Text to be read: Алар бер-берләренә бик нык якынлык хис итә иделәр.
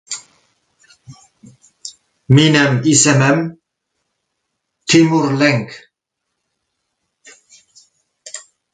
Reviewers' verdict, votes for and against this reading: rejected, 0, 2